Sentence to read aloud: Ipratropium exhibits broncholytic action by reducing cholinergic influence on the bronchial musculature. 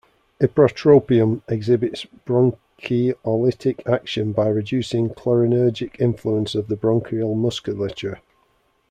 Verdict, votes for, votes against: rejected, 1, 2